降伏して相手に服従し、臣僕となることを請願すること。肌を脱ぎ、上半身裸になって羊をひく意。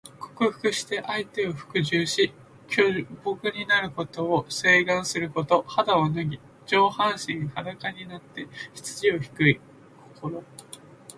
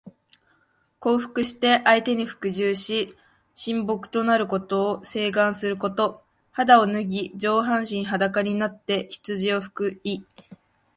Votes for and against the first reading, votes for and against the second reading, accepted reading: 0, 2, 2, 0, second